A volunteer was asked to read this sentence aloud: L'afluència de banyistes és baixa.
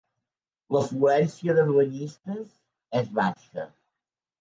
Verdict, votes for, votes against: accepted, 2, 0